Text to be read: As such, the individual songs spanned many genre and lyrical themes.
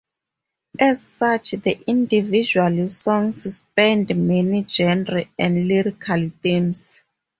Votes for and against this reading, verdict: 2, 2, rejected